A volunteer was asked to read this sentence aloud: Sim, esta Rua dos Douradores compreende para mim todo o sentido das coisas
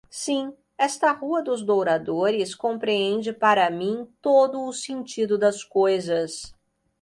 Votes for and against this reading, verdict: 2, 0, accepted